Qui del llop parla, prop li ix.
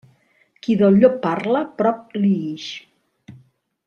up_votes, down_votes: 0, 2